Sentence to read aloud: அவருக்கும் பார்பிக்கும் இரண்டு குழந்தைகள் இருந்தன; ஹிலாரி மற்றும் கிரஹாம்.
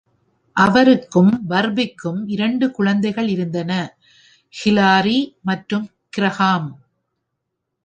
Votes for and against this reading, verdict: 1, 2, rejected